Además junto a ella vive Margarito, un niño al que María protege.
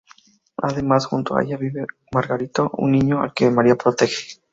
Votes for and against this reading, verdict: 2, 0, accepted